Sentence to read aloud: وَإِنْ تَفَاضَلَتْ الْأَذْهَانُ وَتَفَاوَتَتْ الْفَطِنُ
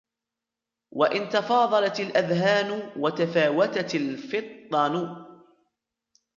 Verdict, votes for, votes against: rejected, 1, 2